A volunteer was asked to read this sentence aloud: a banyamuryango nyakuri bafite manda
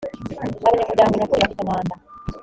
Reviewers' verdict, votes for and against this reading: rejected, 1, 2